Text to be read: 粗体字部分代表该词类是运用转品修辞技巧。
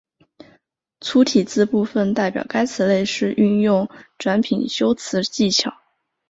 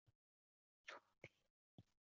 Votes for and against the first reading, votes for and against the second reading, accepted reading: 2, 1, 0, 3, first